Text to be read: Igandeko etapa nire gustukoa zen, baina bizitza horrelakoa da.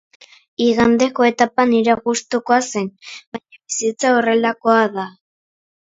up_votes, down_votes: 1, 2